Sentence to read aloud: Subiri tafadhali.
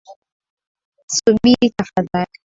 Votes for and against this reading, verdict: 7, 3, accepted